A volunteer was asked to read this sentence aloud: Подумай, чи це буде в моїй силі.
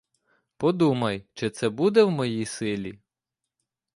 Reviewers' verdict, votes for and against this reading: accepted, 2, 0